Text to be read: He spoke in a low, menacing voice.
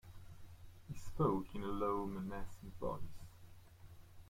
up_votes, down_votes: 1, 2